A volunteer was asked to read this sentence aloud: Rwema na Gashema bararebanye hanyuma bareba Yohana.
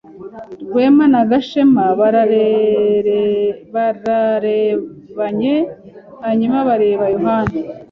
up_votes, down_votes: 0, 2